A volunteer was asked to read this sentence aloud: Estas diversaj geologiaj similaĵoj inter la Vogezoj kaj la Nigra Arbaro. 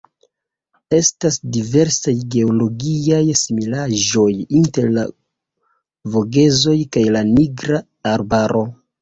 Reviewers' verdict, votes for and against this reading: accepted, 2, 1